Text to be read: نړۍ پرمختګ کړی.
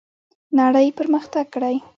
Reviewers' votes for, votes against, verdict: 3, 0, accepted